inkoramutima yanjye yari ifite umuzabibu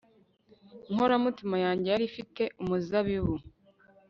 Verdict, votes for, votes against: accepted, 2, 0